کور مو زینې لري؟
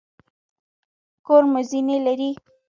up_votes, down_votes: 2, 0